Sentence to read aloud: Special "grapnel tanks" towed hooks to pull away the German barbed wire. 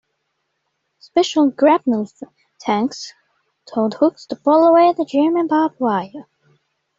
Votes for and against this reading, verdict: 2, 0, accepted